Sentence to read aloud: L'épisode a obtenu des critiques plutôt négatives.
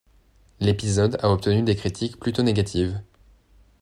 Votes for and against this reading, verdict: 2, 0, accepted